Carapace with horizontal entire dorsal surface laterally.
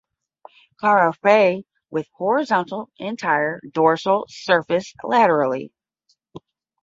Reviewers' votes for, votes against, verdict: 5, 10, rejected